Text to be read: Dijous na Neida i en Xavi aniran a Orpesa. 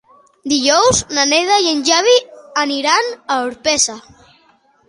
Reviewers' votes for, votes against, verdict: 2, 0, accepted